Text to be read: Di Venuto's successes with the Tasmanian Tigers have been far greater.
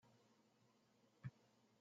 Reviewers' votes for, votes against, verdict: 0, 2, rejected